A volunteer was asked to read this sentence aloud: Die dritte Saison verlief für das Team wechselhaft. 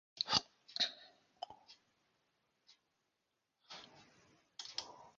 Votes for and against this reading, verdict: 0, 2, rejected